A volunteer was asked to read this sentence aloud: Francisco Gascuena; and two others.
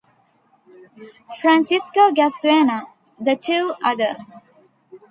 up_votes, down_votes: 0, 2